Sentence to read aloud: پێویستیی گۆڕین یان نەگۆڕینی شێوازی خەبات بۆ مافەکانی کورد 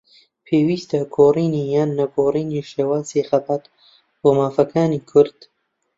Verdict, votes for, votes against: rejected, 0, 2